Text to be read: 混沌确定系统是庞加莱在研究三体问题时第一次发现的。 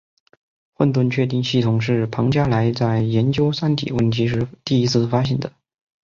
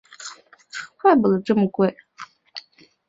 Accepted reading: first